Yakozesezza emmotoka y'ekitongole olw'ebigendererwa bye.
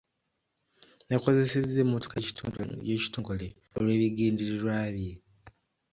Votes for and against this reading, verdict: 1, 2, rejected